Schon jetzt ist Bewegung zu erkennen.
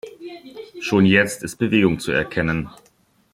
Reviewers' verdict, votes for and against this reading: rejected, 1, 2